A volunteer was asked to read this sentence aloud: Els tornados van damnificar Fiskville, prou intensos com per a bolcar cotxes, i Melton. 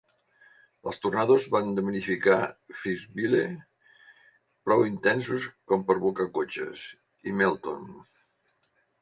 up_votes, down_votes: 1, 2